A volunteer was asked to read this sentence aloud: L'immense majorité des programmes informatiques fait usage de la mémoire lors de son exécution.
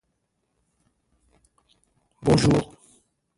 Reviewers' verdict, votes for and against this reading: rejected, 1, 2